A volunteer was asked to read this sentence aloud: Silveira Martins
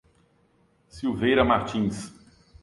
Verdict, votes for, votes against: accepted, 2, 0